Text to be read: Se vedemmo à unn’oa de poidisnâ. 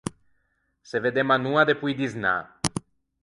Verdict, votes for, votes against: rejected, 0, 4